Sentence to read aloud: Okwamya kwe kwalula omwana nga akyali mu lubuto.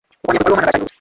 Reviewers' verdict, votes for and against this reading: rejected, 0, 2